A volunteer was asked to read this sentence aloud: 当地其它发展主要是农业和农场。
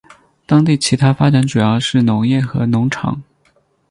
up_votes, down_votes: 8, 0